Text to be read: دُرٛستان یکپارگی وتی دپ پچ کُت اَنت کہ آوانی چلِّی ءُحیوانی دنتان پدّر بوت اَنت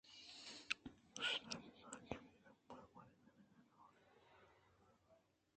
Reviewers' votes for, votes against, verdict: 0, 2, rejected